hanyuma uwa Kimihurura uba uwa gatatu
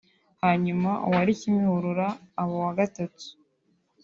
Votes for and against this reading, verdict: 2, 1, accepted